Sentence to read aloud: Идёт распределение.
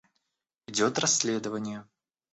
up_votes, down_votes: 1, 2